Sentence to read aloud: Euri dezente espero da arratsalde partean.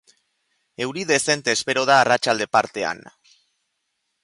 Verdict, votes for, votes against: accepted, 2, 0